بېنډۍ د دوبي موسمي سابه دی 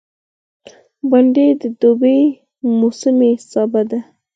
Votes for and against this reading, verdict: 4, 0, accepted